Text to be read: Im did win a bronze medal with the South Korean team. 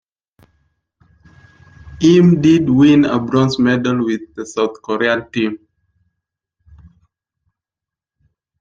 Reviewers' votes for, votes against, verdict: 1, 2, rejected